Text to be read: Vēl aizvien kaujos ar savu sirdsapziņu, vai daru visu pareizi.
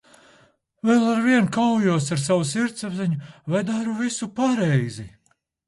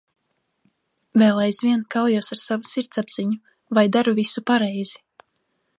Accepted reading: second